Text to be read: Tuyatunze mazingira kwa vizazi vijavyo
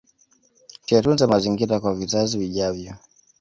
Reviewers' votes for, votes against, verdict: 2, 0, accepted